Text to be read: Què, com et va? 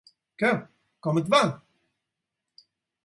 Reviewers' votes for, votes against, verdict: 4, 0, accepted